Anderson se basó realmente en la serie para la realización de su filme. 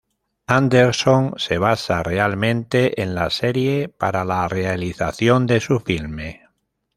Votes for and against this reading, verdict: 0, 2, rejected